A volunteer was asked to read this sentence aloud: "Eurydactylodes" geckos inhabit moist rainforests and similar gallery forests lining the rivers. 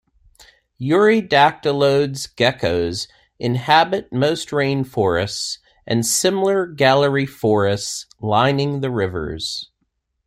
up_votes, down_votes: 0, 2